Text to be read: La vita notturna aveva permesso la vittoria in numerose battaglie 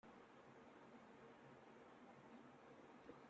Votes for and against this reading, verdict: 0, 2, rejected